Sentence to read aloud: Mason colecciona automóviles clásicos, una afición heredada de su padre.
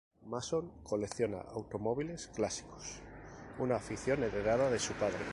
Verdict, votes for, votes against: rejected, 2, 2